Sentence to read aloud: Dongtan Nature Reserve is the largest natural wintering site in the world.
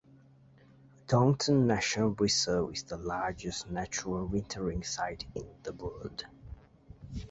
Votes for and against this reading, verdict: 2, 0, accepted